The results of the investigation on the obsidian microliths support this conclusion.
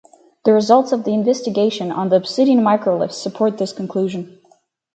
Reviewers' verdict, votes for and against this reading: rejected, 2, 2